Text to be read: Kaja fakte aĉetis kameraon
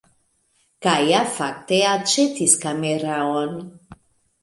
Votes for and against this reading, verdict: 1, 2, rejected